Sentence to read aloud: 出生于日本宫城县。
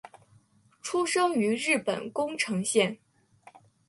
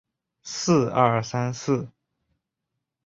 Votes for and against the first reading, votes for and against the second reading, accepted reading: 5, 0, 0, 2, first